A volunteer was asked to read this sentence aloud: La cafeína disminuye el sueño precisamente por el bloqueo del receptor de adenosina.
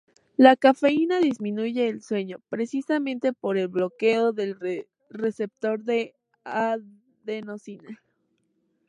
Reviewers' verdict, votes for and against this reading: rejected, 0, 2